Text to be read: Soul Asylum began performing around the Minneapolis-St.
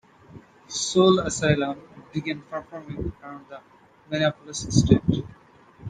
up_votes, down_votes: 0, 2